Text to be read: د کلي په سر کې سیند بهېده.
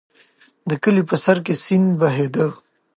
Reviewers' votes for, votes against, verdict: 2, 0, accepted